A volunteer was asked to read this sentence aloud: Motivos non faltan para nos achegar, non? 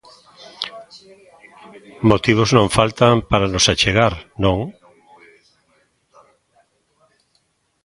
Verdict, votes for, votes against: rejected, 0, 2